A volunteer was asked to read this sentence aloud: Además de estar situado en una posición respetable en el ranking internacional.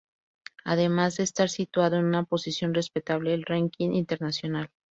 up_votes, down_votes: 0, 2